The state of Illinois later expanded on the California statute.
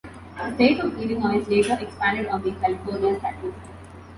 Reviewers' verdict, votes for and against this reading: rejected, 0, 2